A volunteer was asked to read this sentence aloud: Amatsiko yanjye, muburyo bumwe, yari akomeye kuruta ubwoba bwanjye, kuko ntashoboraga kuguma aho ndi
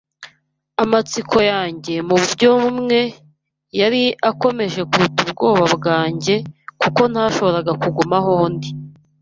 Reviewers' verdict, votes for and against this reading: rejected, 1, 2